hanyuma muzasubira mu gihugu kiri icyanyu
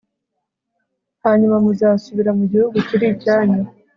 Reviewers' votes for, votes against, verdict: 2, 0, accepted